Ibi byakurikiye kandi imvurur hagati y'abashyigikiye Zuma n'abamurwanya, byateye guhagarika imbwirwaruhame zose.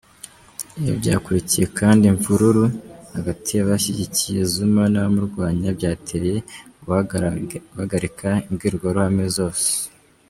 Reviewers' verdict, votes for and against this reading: rejected, 0, 2